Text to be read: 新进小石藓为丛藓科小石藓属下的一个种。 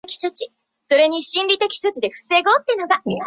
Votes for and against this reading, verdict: 0, 3, rejected